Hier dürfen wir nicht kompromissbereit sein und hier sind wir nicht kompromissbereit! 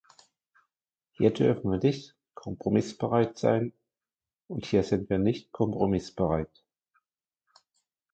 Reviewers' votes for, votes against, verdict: 2, 0, accepted